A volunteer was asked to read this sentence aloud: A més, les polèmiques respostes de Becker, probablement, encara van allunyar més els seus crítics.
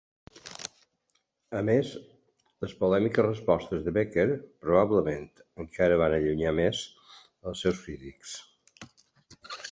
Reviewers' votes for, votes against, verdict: 3, 1, accepted